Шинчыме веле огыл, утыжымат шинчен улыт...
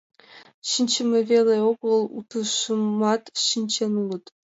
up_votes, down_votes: 1, 2